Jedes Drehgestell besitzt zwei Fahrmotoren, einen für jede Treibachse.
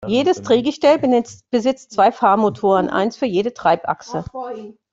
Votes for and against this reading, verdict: 0, 2, rejected